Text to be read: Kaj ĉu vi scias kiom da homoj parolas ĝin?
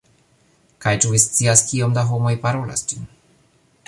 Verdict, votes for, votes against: accepted, 2, 1